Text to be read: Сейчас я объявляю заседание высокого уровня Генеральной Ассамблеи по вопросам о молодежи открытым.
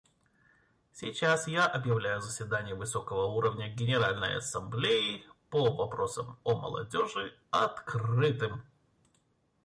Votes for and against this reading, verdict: 2, 0, accepted